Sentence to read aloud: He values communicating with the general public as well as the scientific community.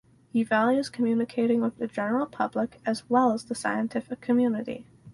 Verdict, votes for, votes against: accepted, 4, 0